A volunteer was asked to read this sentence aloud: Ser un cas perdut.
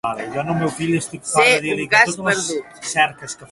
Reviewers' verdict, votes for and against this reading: rejected, 0, 2